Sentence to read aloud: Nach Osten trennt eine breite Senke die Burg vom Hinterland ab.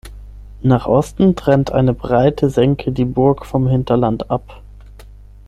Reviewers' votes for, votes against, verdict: 6, 0, accepted